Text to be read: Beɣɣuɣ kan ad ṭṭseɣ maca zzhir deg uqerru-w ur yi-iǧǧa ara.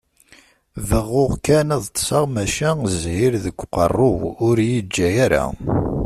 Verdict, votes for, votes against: accepted, 2, 0